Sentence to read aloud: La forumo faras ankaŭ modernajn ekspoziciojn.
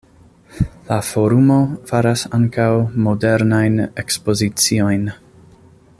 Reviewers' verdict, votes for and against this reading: accepted, 2, 0